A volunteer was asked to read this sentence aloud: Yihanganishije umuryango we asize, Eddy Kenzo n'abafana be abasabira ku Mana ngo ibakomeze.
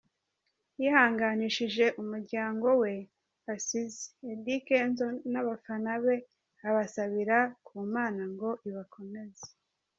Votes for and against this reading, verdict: 2, 1, accepted